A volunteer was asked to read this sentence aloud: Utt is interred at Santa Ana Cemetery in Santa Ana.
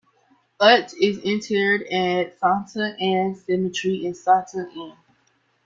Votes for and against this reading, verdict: 0, 2, rejected